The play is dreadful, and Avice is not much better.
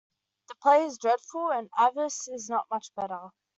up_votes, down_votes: 2, 0